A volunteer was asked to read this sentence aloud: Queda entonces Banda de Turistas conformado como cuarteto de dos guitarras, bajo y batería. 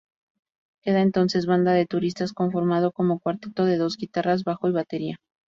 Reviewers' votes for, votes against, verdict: 4, 0, accepted